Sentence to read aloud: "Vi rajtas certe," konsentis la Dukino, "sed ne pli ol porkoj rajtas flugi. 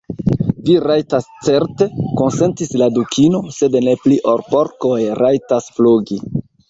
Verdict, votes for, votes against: rejected, 1, 2